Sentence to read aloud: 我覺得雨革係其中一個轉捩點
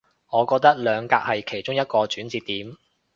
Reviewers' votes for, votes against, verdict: 1, 2, rejected